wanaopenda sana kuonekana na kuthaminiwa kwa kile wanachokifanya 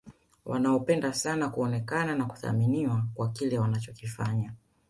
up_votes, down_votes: 2, 0